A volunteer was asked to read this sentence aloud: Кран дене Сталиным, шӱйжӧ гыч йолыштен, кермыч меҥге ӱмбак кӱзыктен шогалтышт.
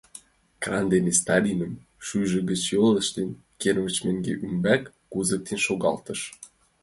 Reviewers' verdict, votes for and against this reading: rejected, 0, 2